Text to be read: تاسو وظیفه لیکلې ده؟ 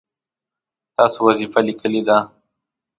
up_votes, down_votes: 1, 2